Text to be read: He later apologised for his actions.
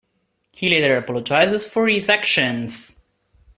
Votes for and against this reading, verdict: 2, 1, accepted